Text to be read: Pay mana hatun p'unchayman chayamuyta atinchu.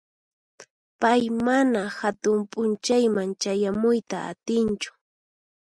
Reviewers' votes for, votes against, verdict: 4, 0, accepted